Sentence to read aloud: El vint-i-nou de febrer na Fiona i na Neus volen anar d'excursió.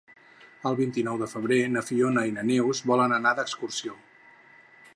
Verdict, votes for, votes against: accepted, 6, 0